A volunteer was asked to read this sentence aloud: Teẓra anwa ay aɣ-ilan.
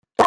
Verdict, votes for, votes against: rejected, 0, 2